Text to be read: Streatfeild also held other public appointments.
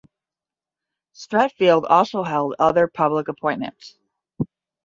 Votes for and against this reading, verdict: 10, 0, accepted